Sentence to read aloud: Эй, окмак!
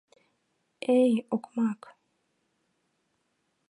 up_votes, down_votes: 2, 0